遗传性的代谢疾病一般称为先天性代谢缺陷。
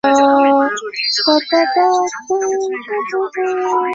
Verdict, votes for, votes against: rejected, 1, 3